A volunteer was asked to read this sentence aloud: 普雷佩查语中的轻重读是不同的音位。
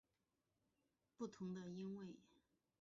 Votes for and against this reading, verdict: 3, 0, accepted